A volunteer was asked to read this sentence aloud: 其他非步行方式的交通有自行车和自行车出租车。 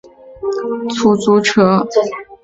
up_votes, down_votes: 0, 2